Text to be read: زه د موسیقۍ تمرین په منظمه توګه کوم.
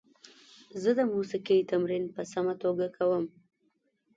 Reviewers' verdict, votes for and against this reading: rejected, 1, 2